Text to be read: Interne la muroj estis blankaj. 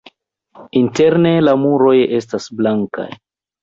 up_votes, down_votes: 2, 0